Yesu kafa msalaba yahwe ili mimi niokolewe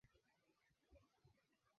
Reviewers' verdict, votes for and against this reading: rejected, 0, 5